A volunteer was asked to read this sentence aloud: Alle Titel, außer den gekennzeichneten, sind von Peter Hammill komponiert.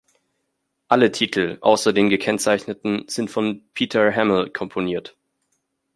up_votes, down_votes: 0, 2